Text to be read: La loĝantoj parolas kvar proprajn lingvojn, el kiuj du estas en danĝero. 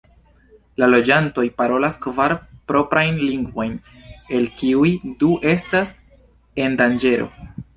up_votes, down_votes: 2, 0